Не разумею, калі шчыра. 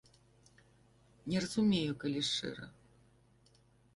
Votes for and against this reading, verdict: 2, 0, accepted